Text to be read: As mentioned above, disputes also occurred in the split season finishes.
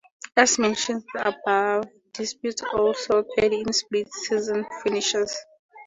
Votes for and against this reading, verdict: 2, 0, accepted